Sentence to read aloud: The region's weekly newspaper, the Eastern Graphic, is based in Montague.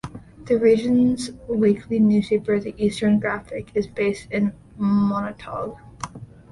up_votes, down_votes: 0, 2